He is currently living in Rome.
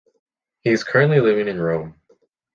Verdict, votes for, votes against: accepted, 2, 0